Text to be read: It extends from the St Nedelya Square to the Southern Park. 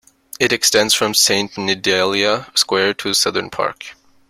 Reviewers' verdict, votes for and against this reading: rejected, 1, 2